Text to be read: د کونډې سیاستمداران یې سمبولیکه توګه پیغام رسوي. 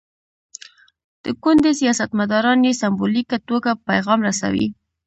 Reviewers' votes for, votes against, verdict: 2, 0, accepted